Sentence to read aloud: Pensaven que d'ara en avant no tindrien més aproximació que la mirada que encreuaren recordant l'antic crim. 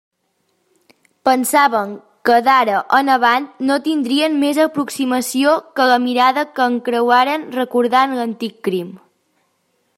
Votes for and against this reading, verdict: 2, 0, accepted